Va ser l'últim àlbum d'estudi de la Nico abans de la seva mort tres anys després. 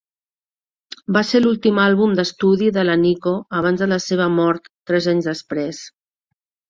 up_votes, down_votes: 3, 0